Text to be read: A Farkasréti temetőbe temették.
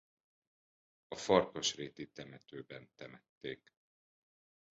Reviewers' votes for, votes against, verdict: 1, 2, rejected